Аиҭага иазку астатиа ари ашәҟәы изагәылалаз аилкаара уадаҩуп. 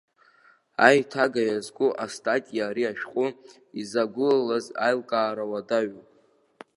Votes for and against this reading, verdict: 1, 2, rejected